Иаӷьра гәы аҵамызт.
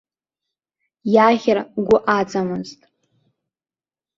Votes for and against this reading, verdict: 2, 1, accepted